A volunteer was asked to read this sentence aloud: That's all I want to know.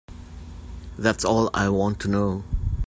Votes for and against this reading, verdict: 2, 0, accepted